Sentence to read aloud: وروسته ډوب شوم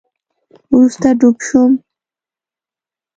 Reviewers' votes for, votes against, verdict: 2, 0, accepted